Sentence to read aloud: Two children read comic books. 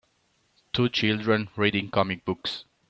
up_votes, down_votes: 0, 2